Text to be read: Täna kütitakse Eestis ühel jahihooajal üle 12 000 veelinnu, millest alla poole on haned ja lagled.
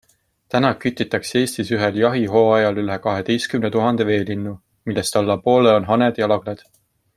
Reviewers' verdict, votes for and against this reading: rejected, 0, 2